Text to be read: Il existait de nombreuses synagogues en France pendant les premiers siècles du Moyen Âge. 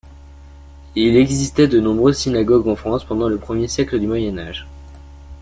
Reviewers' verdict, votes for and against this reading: rejected, 1, 2